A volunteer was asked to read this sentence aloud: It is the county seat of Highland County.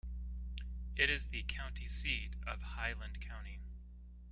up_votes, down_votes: 2, 0